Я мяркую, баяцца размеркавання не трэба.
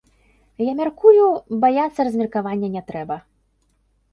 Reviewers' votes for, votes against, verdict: 2, 0, accepted